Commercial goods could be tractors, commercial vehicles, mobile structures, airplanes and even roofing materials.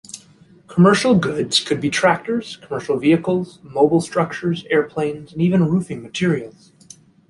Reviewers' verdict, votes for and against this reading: accepted, 3, 1